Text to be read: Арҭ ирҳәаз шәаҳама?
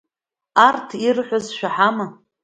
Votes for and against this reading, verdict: 2, 0, accepted